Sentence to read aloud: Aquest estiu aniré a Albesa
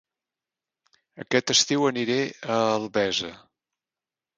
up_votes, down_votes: 2, 0